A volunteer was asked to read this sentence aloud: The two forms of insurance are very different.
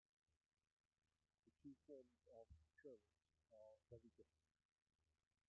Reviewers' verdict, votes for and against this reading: rejected, 0, 2